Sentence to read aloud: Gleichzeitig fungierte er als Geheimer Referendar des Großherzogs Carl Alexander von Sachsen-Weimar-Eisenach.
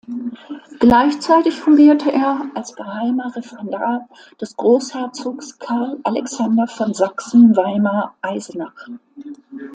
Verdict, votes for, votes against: accepted, 2, 0